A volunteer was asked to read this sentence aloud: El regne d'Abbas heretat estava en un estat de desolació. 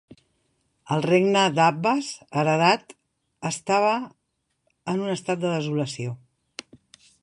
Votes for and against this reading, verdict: 0, 2, rejected